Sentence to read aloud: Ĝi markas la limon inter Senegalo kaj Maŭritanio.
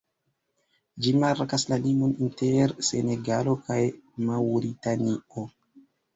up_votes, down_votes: 3, 2